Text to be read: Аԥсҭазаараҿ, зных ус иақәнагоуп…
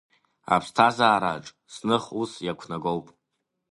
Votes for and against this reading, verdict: 2, 0, accepted